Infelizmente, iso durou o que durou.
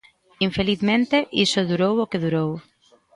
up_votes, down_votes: 2, 0